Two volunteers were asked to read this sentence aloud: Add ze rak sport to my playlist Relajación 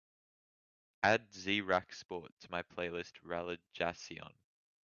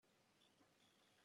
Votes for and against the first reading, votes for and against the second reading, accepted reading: 2, 0, 0, 2, first